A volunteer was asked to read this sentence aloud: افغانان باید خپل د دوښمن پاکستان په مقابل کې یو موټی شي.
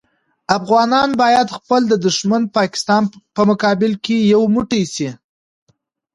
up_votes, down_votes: 2, 0